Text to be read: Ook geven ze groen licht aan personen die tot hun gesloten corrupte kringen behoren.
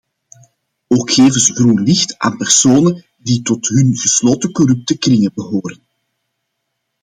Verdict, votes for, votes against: accepted, 2, 0